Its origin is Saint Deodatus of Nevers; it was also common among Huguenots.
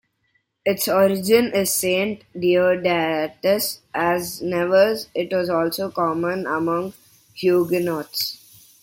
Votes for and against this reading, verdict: 1, 2, rejected